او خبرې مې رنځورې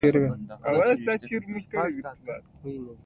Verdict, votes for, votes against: rejected, 1, 2